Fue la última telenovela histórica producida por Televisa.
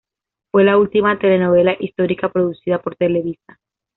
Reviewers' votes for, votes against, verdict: 2, 0, accepted